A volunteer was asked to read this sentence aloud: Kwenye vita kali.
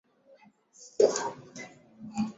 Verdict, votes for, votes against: rejected, 0, 2